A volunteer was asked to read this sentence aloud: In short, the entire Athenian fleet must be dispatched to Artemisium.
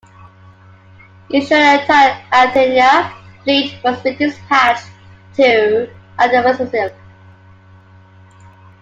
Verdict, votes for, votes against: rejected, 1, 2